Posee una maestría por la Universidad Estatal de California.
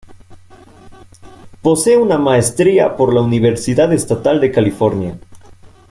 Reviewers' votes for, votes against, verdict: 2, 0, accepted